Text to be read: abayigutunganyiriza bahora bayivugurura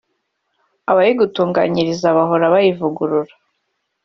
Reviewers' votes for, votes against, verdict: 2, 1, accepted